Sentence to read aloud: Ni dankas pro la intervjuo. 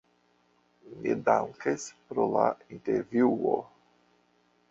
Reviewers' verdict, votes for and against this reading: rejected, 0, 2